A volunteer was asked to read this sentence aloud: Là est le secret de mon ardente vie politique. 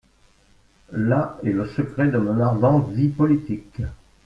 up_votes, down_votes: 1, 2